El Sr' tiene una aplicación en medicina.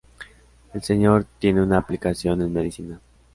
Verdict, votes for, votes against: accepted, 3, 0